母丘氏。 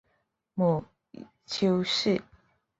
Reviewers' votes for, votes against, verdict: 4, 0, accepted